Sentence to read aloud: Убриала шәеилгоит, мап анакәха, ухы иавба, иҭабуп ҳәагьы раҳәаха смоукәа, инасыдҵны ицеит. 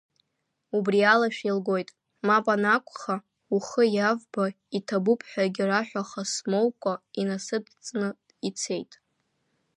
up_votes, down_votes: 2, 0